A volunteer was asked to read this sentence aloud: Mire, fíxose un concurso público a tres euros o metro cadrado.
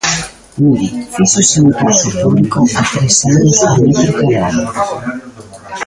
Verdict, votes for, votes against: rejected, 0, 2